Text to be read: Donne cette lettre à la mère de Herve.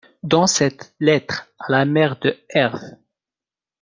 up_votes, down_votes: 0, 2